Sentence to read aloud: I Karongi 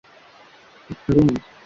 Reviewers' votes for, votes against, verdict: 0, 2, rejected